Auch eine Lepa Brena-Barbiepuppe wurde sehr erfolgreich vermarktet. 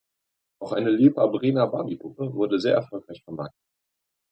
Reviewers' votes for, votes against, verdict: 1, 2, rejected